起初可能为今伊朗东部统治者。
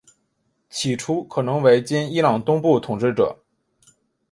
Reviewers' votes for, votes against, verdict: 3, 0, accepted